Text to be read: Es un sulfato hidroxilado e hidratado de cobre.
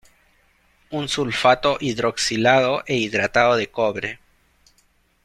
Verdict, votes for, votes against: rejected, 1, 2